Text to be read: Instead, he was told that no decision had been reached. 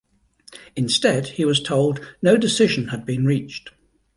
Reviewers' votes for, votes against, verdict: 0, 2, rejected